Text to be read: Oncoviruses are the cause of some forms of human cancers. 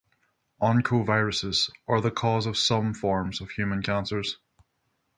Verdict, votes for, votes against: rejected, 3, 3